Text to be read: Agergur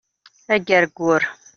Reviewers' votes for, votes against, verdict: 2, 0, accepted